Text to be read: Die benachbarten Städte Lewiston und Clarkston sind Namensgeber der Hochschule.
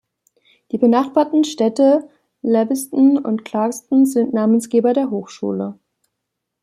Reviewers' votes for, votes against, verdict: 2, 0, accepted